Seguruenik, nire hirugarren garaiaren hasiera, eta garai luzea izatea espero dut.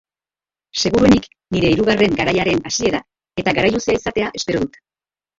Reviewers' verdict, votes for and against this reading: rejected, 0, 2